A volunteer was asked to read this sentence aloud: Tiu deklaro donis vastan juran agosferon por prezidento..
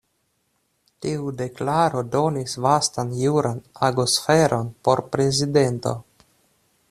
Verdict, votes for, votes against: accepted, 2, 0